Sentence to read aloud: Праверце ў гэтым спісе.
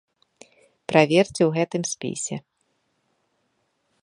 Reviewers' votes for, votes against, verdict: 2, 0, accepted